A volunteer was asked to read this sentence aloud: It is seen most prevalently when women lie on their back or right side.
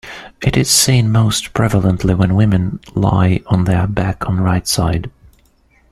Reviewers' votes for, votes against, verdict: 0, 2, rejected